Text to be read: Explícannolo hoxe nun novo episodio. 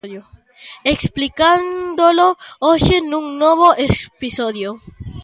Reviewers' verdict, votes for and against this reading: rejected, 0, 2